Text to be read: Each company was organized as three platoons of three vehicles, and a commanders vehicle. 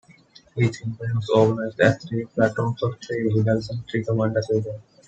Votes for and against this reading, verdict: 0, 2, rejected